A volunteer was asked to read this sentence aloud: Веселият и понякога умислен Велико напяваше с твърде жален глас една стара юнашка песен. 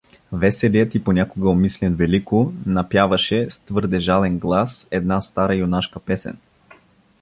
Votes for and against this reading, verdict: 2, 0, accepted